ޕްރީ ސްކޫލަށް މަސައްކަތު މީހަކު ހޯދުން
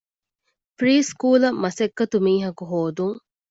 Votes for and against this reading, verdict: 2, 0, accepted